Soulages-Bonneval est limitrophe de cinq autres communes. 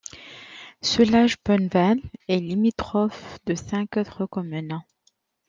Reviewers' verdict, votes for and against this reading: accepted, 2, 0